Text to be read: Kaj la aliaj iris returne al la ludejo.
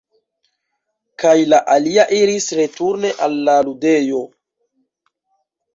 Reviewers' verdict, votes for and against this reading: rejected, 1, 2